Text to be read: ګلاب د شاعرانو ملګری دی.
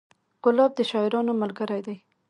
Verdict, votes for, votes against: accepted, 2, 1